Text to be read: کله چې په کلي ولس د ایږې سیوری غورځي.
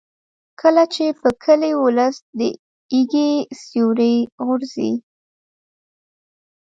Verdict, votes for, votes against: rejected, 1, 2